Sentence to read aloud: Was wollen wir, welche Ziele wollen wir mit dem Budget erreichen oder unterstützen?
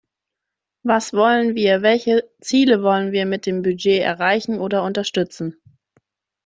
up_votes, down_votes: 2, 0